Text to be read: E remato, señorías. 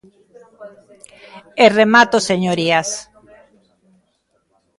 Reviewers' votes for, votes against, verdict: 1, 2, rejected